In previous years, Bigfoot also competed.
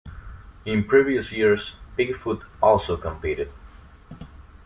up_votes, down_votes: 2, 0